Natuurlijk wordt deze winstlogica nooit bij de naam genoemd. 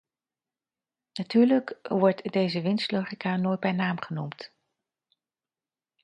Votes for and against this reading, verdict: 0, 2, rejected